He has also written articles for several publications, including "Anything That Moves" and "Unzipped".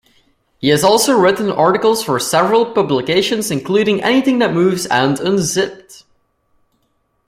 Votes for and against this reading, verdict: 2, 0, accepted